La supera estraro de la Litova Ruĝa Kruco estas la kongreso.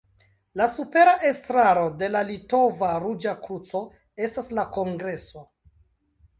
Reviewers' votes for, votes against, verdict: 2, 1, accepted